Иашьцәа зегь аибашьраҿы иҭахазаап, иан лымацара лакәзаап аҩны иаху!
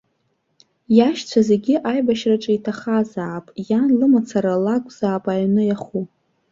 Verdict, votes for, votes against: accepted, 2, 0